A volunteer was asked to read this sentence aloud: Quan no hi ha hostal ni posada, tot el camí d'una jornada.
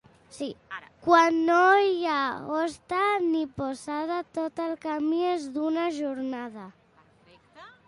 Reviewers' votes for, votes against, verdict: 0, 2, rejected